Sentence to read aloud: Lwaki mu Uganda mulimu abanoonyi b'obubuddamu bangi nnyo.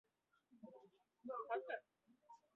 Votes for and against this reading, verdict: 0, 2, rejected